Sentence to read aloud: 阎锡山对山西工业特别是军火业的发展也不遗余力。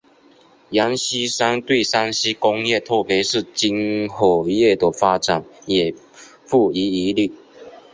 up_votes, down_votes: 2, 0